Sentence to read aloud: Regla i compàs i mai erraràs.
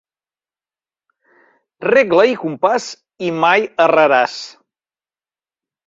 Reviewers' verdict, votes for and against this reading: accepted, 2, 0